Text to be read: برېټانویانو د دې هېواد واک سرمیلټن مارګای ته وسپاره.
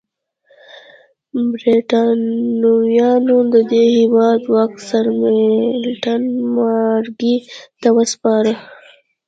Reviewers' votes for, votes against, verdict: 1, 2, rejected